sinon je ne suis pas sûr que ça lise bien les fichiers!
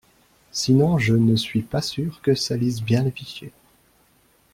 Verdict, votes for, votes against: accepted, 2, 0